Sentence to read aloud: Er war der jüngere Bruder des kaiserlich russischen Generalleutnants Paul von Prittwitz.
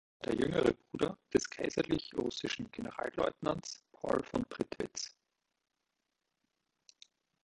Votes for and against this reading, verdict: 1, 2, rejected